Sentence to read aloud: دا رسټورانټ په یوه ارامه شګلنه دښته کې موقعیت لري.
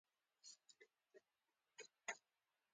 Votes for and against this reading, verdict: 0, 2, rejected